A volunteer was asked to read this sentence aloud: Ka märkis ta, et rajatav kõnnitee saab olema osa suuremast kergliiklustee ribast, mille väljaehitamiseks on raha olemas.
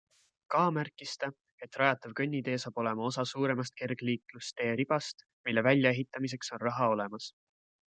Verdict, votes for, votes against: accepted, 2, 0